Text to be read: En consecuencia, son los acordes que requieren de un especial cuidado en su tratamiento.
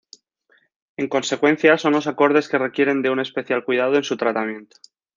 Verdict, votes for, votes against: accepted, 2, 0